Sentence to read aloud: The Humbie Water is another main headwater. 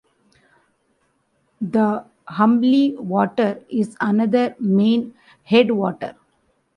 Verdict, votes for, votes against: rejected, 0, 2